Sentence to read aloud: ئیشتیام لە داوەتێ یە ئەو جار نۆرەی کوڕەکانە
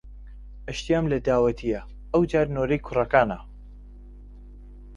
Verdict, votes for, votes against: accepted, 2, 0